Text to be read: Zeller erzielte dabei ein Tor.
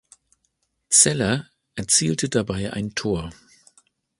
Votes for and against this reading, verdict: 2, 0, accepted